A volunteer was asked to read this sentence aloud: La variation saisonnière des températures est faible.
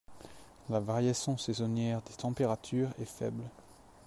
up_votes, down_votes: 3, 1